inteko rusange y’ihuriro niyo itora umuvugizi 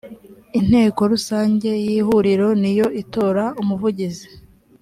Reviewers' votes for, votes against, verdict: 3, 0, accepted